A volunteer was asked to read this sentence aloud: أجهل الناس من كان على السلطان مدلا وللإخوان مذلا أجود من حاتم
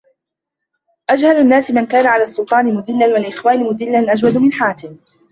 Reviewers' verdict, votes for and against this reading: rejected, 0, 2